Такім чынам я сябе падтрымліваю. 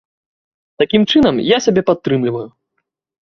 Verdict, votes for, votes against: accepted, 2, 0